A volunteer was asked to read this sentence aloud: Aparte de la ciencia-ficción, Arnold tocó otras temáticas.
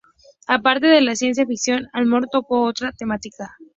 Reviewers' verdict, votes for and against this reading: rejected, 0, 2